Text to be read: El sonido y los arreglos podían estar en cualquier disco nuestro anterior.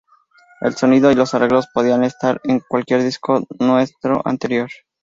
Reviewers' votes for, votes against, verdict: 0, 2, rejected